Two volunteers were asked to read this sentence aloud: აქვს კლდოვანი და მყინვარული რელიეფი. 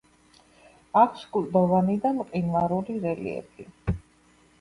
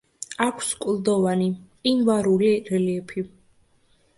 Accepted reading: first